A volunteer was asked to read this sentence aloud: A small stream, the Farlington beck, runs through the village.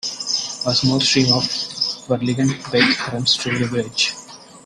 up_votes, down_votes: 0, 2